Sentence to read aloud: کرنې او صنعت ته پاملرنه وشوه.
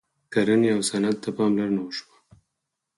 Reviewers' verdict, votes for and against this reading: accepted, 4, 2